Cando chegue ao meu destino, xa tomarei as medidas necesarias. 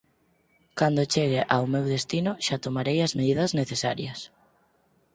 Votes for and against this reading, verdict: 4, 0, accepted